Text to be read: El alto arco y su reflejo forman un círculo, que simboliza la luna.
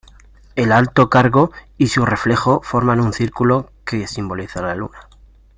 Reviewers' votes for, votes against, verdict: 0, 2, rejected